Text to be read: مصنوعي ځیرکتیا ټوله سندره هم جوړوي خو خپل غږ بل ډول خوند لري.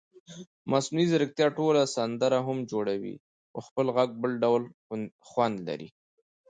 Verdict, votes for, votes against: accepted, 2, 0